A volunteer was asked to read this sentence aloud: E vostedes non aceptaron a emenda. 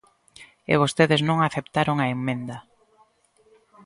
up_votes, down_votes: 1, 2